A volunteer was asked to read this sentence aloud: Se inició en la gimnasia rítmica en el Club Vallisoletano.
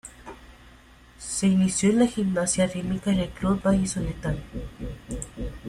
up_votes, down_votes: 2, 0